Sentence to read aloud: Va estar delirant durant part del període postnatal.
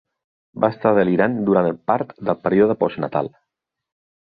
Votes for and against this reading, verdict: 0, 2, rejected